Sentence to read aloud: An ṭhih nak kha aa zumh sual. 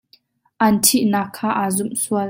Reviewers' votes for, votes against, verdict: 2, 0, accepted